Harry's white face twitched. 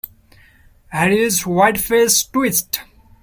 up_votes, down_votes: 0, 2